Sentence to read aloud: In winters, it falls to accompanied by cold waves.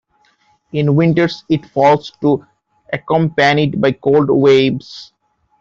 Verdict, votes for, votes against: rejected, 0, 2